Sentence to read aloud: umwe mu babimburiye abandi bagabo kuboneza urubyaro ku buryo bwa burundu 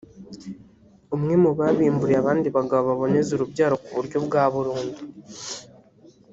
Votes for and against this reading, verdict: 1, 2, rejected